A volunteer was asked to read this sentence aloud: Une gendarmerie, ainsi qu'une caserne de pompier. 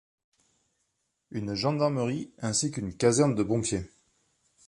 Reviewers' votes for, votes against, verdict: 0, 2, rejected